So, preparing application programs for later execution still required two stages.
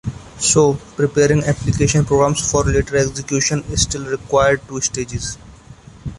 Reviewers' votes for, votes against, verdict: 2, 1, accepted